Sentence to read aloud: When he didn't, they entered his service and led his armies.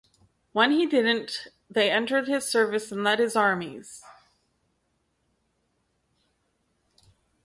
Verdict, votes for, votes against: accepted, 2, 0